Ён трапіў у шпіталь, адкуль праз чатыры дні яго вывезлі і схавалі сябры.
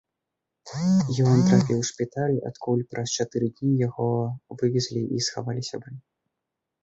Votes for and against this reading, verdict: 2, 3, rejected